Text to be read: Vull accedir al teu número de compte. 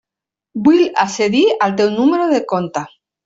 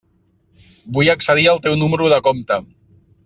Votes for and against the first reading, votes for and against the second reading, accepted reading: 1, 2, 3, 0, second